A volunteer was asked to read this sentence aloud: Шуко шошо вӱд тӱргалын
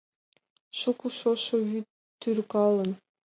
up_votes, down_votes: 2, 0